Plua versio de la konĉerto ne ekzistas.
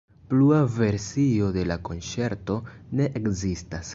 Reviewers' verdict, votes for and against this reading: accepted, 2, 0